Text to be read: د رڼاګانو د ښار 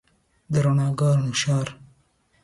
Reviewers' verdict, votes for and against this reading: accepted, 2, 0